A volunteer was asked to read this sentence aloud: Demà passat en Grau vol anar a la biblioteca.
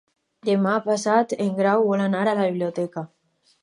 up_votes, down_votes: 4, 0